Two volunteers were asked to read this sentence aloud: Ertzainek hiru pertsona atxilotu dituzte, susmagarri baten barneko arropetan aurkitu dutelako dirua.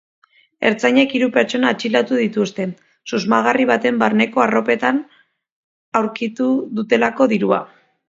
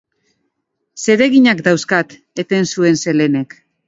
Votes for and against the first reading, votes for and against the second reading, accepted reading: 2, 0, 0, 2, first